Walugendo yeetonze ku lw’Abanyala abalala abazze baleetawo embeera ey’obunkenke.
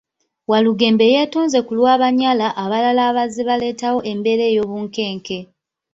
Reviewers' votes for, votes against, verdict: 0, 2, rejected